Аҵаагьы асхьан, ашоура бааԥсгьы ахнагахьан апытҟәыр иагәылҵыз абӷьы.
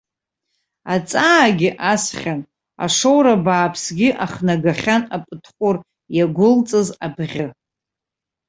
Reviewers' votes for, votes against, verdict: 3, 0, accepted